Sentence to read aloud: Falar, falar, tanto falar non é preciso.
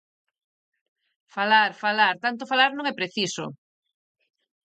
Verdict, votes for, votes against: accepted, 4, 0